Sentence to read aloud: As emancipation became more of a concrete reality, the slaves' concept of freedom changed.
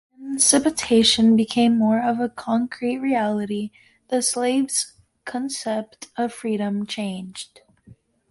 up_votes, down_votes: 0, 2